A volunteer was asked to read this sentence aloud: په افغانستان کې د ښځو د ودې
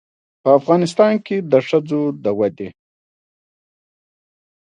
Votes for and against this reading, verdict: 1, 2, rejected